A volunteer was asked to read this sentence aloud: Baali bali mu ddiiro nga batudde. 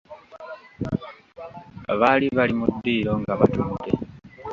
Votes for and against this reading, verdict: 0, 2, rejected